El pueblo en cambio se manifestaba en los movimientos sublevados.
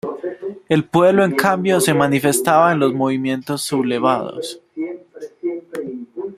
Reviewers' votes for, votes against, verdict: 0, 2, rejected